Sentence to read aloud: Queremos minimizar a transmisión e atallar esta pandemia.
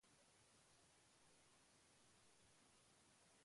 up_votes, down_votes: 0, 2